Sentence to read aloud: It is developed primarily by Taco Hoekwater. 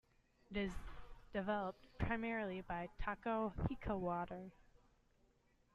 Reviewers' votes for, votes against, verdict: 0, 2, rejected